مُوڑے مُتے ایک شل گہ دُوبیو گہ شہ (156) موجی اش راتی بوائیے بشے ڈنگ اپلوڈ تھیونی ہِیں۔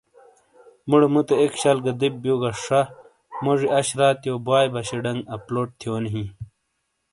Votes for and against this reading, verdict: 0, 2, rejected